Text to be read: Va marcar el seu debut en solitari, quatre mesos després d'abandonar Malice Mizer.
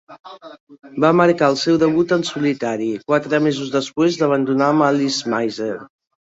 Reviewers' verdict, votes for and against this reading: rejected, 0, 2